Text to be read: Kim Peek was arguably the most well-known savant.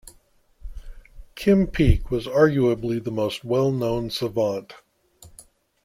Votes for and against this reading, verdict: 2, 0, accepted